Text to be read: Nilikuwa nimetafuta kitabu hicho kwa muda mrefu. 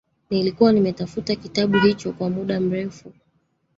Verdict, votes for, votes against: accepted, 2, 0